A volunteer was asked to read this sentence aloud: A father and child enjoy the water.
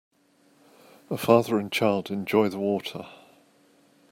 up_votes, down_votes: 2, 0